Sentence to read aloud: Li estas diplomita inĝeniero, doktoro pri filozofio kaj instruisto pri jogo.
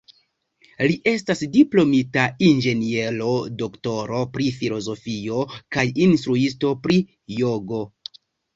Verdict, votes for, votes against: rejected, 1, 2